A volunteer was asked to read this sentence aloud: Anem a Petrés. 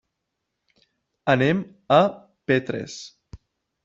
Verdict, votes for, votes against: rejected, 0, 2